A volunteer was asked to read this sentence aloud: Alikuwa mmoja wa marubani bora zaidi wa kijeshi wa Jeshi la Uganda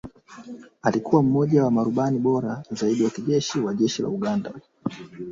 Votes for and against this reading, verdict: 0, 2, rejected